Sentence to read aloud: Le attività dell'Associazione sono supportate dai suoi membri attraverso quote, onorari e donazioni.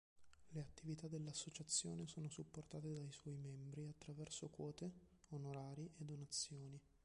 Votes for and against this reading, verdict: 1, 2, rejected